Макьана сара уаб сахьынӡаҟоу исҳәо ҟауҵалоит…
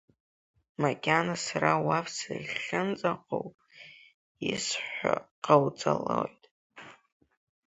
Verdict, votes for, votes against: rejected, 0, 3